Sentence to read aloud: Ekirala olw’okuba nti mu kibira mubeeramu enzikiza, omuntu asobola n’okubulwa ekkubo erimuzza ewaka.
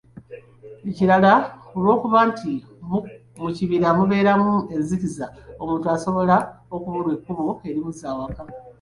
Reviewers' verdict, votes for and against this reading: rejected, 0, 2